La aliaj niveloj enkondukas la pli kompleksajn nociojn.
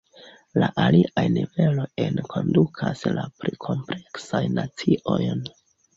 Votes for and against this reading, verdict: 0, 2, rejected